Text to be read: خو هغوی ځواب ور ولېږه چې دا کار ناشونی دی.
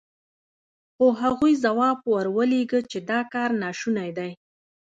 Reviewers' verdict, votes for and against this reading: accepted, 2, 1